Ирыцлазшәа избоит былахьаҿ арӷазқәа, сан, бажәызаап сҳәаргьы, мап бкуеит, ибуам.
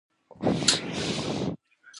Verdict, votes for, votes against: rejected, 1, 2